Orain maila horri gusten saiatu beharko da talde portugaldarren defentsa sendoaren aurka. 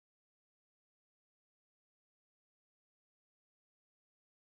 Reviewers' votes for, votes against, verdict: 0, 4, rejected